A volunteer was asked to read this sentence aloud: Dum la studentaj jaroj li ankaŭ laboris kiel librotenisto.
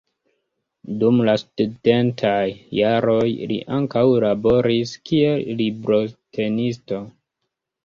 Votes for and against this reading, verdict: 2, 0, accepted